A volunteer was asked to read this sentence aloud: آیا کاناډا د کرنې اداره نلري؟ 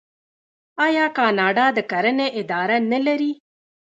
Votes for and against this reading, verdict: 1, 2, rejected